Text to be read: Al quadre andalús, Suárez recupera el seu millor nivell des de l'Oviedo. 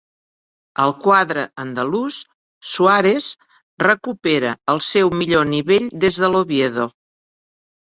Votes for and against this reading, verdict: 1, 2, rejected